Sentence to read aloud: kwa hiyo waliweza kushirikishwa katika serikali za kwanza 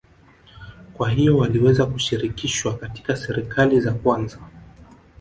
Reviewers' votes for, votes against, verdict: 1, 2, rejected